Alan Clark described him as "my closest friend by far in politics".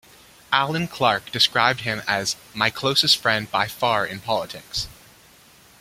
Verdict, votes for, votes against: accepted, 2, 1